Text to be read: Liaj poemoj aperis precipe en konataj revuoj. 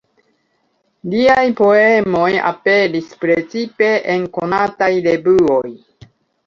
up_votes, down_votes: 2, 1